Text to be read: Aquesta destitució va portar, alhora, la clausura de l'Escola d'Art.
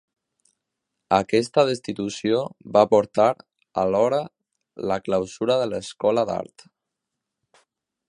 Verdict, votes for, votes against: accepted, 2, 0